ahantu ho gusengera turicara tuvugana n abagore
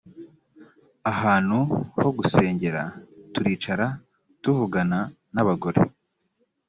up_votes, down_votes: 2, 0